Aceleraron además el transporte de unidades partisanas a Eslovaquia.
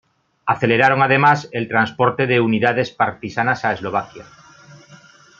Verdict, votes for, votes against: accepted, 2, 0